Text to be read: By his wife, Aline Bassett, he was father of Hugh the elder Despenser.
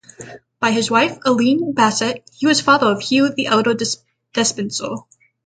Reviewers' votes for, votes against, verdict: 3, 6, rejected